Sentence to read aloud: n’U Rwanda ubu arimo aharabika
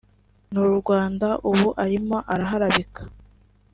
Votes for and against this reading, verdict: 1, 2, rejected